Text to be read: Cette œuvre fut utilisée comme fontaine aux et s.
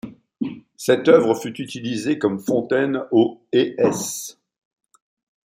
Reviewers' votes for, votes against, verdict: 2, 0, accepted